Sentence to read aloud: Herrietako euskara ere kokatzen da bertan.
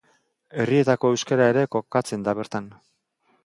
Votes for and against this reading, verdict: 0, 2, rejected